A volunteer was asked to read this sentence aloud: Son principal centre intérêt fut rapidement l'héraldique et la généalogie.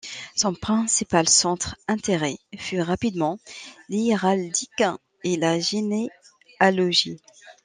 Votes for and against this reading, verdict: 1, 2, rejected